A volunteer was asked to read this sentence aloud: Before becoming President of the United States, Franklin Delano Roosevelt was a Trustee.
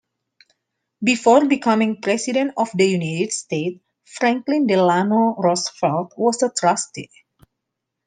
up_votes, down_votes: 2, 1